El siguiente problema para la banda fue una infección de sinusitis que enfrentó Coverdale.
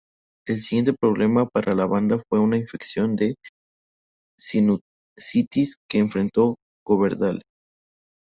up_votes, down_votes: 0, 2